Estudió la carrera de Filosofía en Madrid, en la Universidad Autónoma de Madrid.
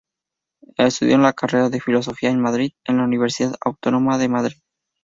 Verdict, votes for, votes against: accepted, 2, 0